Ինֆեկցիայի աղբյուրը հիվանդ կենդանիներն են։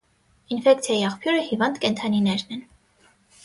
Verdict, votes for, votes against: accepted, 6, 0